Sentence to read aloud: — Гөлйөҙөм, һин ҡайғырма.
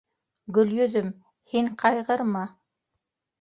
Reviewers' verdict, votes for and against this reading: rejected, 1, 2